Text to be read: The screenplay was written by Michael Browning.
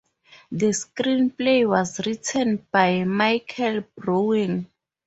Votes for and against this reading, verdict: 0, 2, rejected